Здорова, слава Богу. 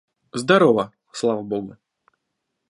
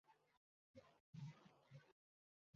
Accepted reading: first